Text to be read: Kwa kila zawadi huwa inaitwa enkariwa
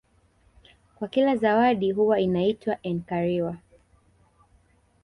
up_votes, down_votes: 2, 0